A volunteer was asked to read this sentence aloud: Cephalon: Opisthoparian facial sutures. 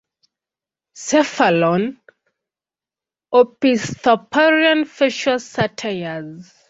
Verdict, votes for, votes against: rejected, 0, 2